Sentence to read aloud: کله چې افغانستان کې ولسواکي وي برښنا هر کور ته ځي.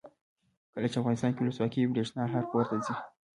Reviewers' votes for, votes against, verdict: 0, 2, rejected